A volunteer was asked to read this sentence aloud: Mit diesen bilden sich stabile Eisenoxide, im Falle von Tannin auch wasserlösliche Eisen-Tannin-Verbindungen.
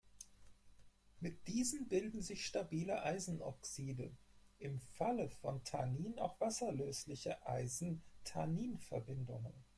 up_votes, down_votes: 4, 0